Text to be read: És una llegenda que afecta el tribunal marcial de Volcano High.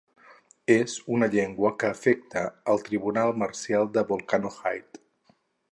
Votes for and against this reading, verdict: 0, 4, rejected